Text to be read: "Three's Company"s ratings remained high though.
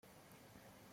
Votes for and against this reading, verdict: 0, 2, rejected